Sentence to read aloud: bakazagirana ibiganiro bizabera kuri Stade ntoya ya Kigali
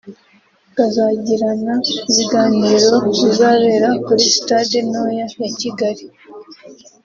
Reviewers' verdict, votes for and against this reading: rejected, 1, 2